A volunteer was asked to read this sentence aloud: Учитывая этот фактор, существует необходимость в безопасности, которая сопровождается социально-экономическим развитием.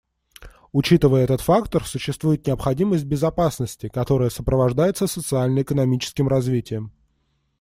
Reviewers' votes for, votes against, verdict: 2, 0, accepted